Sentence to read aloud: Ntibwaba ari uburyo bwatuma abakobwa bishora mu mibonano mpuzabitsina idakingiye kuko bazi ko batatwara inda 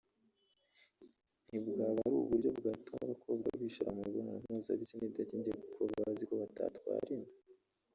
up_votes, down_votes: 1, 2